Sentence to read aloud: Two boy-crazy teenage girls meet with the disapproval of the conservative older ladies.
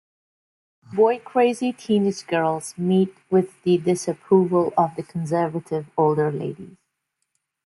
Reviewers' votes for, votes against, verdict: 1, 2, rejected